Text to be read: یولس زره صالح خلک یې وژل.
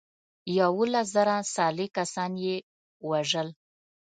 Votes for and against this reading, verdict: 0, 2, rejected